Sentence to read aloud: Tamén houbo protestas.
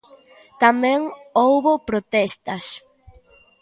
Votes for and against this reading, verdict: 1, 2, rejected